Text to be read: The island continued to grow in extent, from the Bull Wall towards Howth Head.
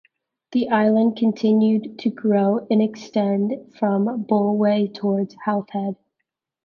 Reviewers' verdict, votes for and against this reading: rejected, 0, 2